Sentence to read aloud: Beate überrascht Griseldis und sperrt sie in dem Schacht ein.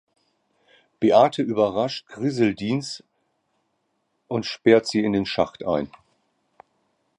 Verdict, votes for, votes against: rejected, 1, 2